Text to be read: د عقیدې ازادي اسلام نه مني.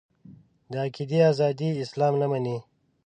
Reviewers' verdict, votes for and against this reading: accepted, 2, 0